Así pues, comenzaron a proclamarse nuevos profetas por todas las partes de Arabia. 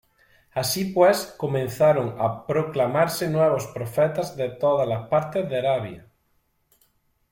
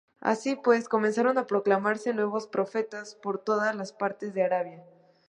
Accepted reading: second